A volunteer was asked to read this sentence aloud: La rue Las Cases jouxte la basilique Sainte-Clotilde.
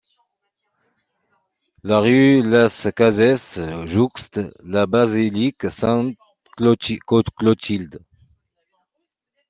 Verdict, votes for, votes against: rejected, 0, 2